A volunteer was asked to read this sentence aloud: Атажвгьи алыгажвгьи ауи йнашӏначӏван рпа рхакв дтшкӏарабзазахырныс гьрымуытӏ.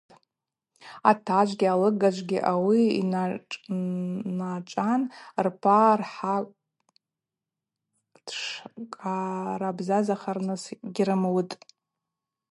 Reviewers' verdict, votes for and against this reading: rejected, 0, 4